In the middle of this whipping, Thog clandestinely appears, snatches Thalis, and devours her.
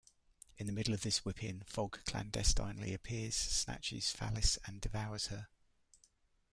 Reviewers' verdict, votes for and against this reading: accepted, 2, 0